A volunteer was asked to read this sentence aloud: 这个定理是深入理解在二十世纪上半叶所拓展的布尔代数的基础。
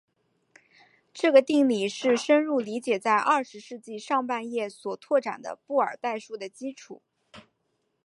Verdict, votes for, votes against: accepted, 2, 0